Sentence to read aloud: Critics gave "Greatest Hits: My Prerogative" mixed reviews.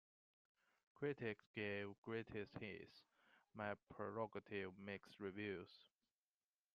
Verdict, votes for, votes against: accepted, 2, 0